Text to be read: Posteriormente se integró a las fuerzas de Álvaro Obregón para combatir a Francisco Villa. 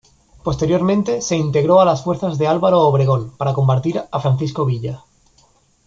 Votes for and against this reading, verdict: 1, 2, rejected